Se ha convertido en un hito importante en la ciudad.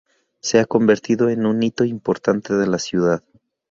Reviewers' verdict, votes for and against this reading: rejected, 0, 2